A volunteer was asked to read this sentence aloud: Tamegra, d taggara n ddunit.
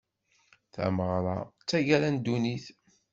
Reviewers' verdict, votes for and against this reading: rejected, 1, 2